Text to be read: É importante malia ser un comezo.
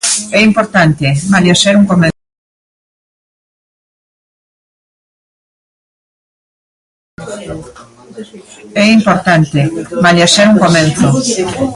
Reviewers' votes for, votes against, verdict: 0, 2, rejected